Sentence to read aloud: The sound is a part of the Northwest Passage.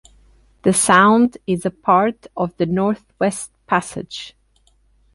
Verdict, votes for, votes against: accepted, 2, 0